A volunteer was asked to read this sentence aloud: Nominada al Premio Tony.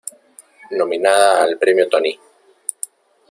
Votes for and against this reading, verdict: 1, 2, rejected